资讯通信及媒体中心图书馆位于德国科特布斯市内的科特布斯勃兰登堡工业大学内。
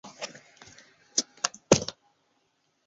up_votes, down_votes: 0, 2